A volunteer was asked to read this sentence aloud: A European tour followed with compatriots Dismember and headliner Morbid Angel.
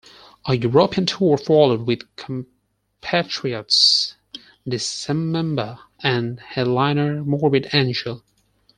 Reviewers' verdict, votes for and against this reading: rejected, 0, 4